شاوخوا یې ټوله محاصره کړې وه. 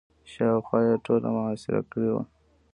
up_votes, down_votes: 2, 0